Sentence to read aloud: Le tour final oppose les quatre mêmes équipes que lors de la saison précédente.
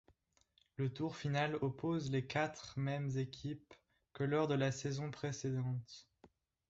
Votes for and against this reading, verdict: 2, 0, accepted